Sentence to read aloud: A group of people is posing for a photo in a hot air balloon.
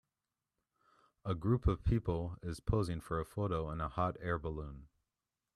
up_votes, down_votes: 2, 0